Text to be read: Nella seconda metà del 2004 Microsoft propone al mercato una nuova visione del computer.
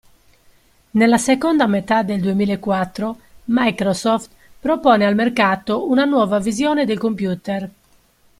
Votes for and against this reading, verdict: 0, 2, rejected